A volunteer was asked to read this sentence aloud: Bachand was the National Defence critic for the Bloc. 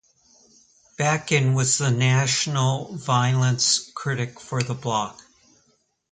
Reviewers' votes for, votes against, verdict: 0, 2, rejected